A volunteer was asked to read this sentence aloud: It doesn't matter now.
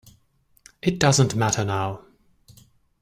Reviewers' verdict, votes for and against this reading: accepted, 2, 0